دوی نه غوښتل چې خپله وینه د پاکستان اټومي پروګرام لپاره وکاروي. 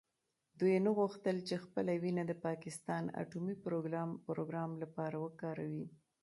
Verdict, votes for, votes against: accepted, 2, 0